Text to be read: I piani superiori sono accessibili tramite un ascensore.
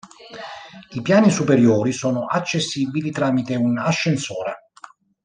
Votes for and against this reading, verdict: 2, 1, accepted